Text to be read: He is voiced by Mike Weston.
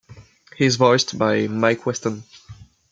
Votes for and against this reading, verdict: 2, 0, accepted